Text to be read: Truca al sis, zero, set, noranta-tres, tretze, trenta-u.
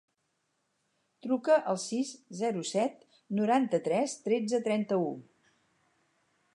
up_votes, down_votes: 4, 0